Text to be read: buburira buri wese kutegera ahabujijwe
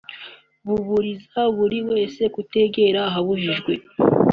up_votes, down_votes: 3, 0